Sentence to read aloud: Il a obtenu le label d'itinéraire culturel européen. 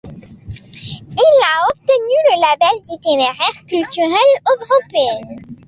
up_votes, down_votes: 0, 2